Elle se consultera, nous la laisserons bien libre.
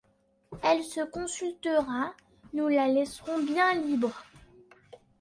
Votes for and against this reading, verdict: 2, 0, accepted